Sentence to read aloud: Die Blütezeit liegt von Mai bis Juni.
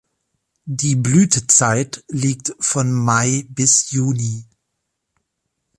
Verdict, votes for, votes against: accepted, 2, 0